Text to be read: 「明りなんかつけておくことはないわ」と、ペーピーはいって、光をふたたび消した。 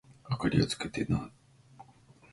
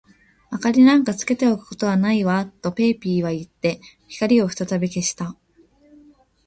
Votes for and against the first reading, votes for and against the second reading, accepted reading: 0, 2, 2, 0, second